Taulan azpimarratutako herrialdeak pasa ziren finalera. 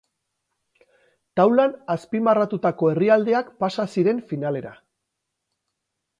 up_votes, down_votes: 0, 2